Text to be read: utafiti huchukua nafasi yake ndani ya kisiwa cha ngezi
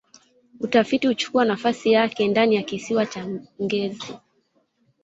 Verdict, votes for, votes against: accepted, 2, 1